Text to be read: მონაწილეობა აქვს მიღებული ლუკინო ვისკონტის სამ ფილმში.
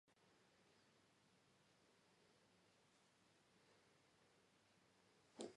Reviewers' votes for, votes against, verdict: 1, 2, rejected